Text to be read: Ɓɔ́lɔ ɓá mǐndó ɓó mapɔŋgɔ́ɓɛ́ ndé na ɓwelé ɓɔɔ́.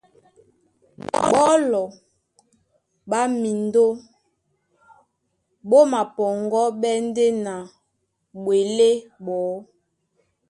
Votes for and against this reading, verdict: 0, 2, rejected